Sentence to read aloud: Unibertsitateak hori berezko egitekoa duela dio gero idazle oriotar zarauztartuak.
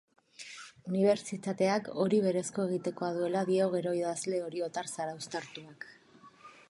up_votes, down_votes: 2, 0